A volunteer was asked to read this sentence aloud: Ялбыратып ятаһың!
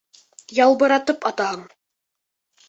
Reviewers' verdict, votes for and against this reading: rejected, 0, 2